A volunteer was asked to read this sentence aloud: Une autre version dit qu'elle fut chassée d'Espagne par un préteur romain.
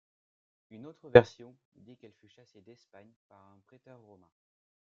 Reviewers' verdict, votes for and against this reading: rejected, 0, 2